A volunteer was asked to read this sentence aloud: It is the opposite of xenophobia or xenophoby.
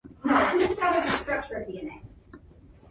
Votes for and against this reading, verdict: 0, 2, rejected